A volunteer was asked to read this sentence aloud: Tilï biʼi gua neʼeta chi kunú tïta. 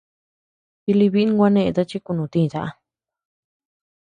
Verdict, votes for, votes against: rejected, 0, 2